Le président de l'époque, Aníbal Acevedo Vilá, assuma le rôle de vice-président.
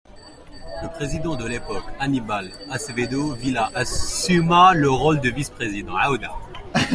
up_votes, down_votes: 1, 2